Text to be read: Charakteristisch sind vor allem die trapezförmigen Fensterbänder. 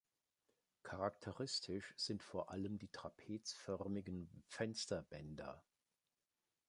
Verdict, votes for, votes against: accepted, 3, 0